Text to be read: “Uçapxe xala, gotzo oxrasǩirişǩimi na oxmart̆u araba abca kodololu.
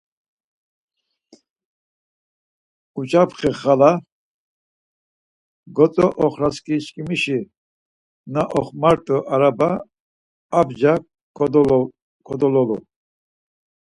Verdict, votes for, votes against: rejected, 2, 4